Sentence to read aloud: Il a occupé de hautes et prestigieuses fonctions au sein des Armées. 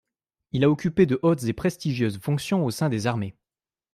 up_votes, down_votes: 2, 0